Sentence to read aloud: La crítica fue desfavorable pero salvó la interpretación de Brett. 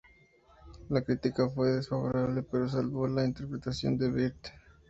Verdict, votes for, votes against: accepted, 2, 0